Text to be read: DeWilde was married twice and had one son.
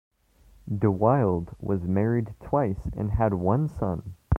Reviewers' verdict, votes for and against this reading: accepted, 2, 0